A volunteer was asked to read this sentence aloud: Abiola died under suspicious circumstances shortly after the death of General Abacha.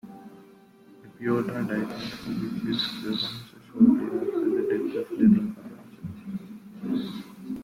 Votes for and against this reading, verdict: 0, 2, rejected